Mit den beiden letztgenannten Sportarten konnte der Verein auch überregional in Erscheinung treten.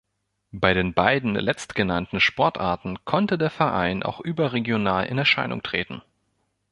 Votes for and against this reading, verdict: 0, 2, rejected